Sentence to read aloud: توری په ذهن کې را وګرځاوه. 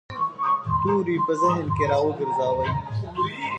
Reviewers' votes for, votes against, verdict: 2, 0, accepted